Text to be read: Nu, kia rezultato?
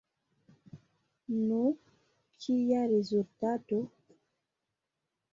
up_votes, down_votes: 2, 0